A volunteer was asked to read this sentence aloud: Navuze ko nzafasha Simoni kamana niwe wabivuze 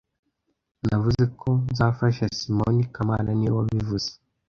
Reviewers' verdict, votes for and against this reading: accepted, 2, 0